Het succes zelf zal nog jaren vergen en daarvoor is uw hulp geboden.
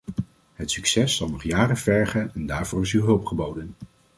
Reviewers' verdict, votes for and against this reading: rejected, 1, 2